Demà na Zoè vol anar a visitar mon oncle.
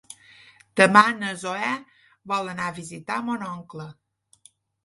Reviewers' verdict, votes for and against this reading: accepted, 4, 0